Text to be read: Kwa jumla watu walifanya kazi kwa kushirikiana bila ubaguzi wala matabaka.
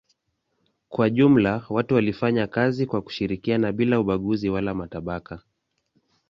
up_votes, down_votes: 2, 0